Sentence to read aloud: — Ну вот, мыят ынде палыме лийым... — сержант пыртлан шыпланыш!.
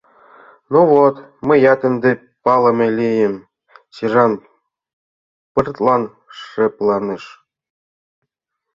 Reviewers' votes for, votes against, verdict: 2, 0, accepted